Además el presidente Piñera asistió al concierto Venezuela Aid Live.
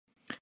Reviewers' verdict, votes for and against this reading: rejected, 0, 2